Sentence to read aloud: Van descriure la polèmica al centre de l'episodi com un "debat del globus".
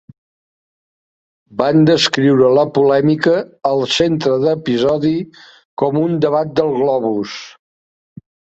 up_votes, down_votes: 0, 2